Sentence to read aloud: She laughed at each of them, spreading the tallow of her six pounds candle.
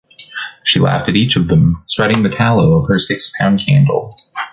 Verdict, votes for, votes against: rejected, 2, 3